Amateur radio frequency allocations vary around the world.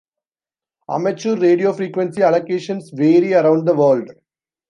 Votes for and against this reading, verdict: 2, 0, accepted